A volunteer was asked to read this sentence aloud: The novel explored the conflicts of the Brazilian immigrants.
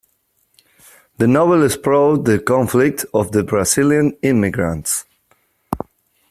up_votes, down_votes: 0, 2